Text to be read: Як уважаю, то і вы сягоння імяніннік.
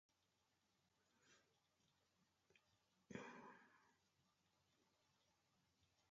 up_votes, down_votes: 0, 2